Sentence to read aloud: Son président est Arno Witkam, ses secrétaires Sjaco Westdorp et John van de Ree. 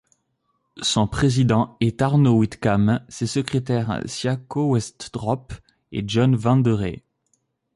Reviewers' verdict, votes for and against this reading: rejected, 0, 2